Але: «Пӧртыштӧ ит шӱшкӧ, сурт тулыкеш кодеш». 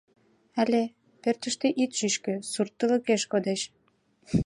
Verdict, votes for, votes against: rejected, 1, 2